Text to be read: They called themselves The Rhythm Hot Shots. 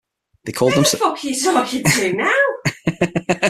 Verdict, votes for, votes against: rejected, 0, 6